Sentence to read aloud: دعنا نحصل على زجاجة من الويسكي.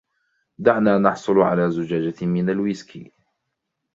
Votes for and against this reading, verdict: 0, 2, rejected